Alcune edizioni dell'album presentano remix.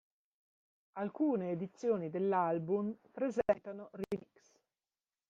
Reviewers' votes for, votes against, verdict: 0, 2, rejected